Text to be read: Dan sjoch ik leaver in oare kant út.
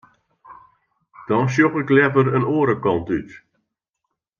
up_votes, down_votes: 2, 0